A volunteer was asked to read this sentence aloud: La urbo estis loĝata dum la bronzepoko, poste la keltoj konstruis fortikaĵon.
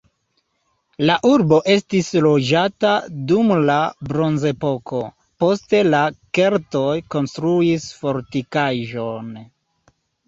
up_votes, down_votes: 3, 0